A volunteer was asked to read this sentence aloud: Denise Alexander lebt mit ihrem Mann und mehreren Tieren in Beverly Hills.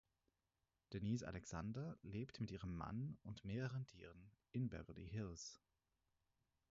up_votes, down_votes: 2, 4